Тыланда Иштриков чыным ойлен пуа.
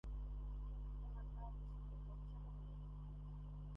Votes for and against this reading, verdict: 0, 2, rejected